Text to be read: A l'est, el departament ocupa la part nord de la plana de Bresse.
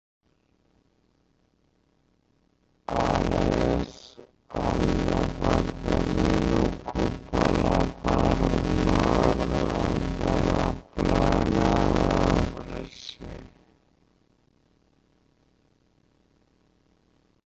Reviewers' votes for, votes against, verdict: 0, 3, rejected